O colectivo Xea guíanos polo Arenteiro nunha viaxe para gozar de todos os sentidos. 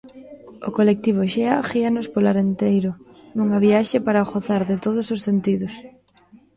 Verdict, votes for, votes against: rejected, 1, 2